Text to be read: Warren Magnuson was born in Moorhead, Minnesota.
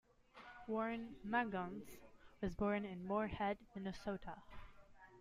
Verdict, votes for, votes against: rejected, 0, 2